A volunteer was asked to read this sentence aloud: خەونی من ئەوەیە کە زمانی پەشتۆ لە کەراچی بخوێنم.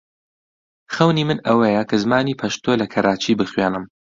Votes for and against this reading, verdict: 2, 0, accepted